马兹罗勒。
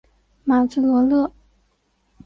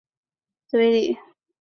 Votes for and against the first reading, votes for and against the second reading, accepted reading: 4, 0, 0, 2, first